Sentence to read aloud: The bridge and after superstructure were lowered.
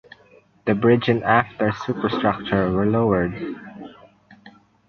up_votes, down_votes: 2, 0